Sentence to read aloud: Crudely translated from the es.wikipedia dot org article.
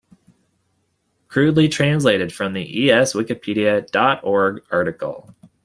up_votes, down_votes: 2, 1